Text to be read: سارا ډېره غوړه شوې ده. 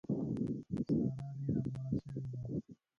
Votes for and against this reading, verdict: 0, 2, rejected